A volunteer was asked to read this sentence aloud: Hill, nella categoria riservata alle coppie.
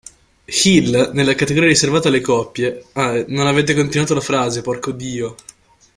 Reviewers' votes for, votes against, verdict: 0, 2, rejected